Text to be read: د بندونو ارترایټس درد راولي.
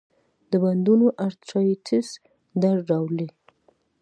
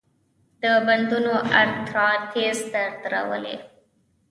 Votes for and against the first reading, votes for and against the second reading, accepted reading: 2, 0, 2, 3, first